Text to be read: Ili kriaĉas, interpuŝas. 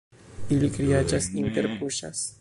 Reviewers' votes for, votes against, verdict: 0, 2, rejected